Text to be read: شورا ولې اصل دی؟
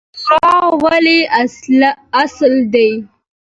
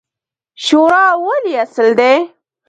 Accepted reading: first